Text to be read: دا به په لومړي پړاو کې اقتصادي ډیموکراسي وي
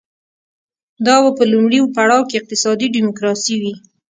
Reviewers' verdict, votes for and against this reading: accepted, 2, 1